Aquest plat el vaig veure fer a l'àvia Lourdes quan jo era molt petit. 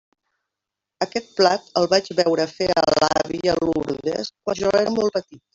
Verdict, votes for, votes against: rejected, 0, 2